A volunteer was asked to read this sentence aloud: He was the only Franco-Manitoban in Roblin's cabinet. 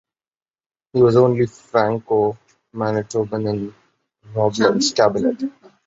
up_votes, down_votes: 1, 2